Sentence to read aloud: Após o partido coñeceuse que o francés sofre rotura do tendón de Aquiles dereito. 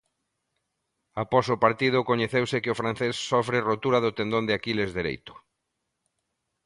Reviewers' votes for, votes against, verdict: 2, 0, accepted